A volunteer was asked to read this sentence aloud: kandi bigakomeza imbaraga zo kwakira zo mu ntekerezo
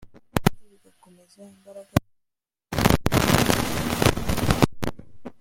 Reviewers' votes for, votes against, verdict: 0, 2, rejected